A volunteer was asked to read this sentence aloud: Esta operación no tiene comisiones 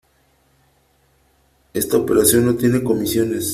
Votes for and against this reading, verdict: 3, 0, accepted